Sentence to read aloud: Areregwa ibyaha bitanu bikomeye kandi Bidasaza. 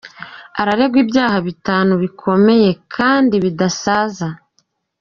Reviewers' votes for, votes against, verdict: 2, 0, accepted